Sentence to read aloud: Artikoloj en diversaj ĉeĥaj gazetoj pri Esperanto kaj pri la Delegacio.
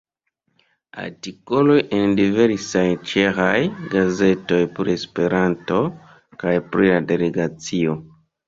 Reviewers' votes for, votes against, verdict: 2, 0, accepted